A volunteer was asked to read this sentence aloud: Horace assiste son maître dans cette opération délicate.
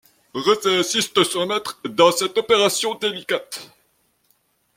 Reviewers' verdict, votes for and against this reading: accepted, 2, 0